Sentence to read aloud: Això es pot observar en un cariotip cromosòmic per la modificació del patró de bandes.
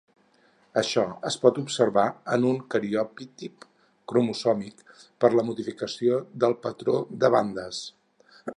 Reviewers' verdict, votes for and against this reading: rejected, 2, 4